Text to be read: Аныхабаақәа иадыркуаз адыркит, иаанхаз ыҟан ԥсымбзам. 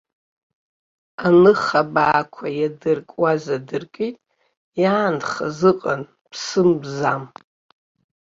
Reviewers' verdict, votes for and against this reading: rejected, 1, 2